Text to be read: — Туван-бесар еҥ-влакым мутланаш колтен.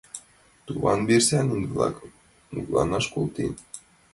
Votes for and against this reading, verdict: 1, 2, rejected